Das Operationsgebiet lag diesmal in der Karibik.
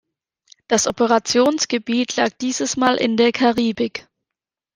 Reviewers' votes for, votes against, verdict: 1, 2, rejected